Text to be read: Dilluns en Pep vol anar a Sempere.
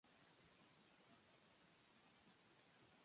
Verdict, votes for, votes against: rejected, 0, 3